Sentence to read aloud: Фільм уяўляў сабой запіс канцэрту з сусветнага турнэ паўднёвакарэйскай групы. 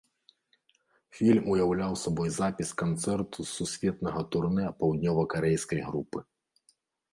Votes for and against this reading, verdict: 2, 1, accepted